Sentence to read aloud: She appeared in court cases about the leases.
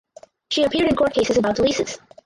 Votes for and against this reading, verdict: 0, 4, rejected